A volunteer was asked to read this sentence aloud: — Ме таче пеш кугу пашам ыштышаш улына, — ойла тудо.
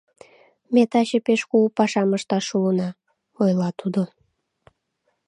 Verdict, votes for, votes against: rejected, 0, 2